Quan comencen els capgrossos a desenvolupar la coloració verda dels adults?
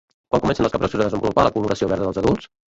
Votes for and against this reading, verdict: 1, 2, rejected